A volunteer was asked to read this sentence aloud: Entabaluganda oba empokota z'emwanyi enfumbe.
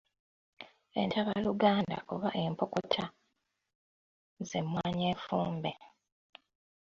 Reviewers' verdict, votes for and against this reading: rejected, 1, 2